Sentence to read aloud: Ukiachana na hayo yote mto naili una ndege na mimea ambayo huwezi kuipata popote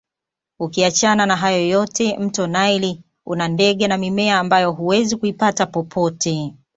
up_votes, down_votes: 2, 0